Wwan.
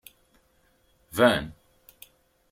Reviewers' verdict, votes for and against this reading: rejected, 0, 2